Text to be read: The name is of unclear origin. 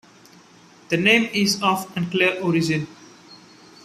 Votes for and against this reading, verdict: 2, 0, accepted